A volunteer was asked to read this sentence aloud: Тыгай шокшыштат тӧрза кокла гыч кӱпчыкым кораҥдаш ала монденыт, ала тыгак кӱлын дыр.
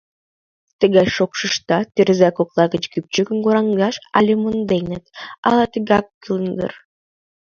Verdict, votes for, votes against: accepted, 2, 1